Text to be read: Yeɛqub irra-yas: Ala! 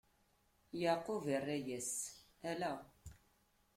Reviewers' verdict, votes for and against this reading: rejected, 1, 2